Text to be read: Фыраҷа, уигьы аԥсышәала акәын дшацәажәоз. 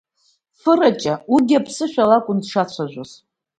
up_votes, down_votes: 2, 0